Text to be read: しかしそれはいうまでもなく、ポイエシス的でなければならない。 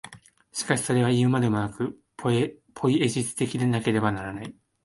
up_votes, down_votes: 1, 2